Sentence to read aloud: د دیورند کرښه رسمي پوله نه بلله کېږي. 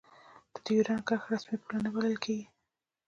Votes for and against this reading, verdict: 2, 1, accepted